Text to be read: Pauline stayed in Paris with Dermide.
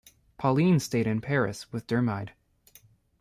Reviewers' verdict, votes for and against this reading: accepted, 2, 0